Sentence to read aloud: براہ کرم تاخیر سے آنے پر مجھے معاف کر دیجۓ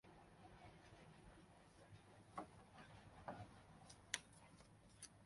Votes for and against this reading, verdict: 0, 3, rejected